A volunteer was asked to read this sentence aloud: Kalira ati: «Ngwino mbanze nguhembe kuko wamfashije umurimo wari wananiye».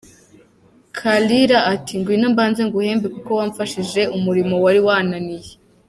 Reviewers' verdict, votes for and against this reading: accepted, 2, 0